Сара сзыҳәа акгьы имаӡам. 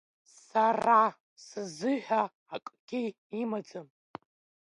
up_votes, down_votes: 1, 2